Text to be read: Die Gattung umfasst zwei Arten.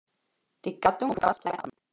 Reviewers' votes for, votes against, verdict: 0, 2, rejected